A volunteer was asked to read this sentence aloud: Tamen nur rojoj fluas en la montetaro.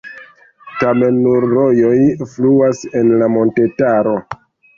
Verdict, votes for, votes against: accepted, 2, 1